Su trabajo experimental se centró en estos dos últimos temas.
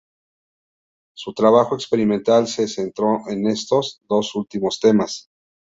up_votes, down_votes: 2, 0